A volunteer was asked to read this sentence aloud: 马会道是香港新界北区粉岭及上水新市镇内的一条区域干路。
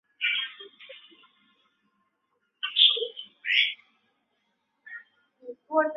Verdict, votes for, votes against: rejected, 0, 2